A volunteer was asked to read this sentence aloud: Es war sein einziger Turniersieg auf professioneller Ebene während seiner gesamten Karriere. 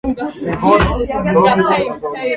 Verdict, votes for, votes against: rejected, 0, 2